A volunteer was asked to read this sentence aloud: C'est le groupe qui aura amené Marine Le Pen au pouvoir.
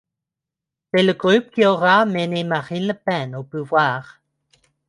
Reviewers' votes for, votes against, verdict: 1, 2, rejected